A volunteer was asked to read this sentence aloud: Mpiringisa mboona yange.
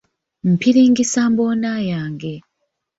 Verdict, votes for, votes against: accepted, 2, 0